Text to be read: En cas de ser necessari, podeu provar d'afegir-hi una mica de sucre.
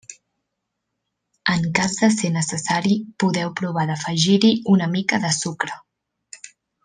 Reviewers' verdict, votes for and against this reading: accepted, 3, 0